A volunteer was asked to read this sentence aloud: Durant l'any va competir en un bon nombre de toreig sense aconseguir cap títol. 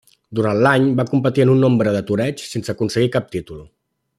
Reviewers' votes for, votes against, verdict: 0, 2, rejected